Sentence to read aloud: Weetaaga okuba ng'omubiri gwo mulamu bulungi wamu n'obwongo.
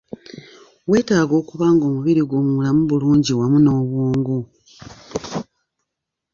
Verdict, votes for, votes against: accepted, 2, 0